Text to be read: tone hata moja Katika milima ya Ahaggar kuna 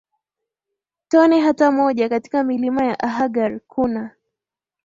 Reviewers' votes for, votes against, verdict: 3, 0, accepted